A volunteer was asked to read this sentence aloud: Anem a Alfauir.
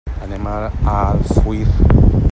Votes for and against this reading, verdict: 0, 2, rejected